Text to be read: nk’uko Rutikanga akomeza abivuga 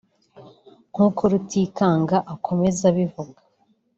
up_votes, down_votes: 1, 2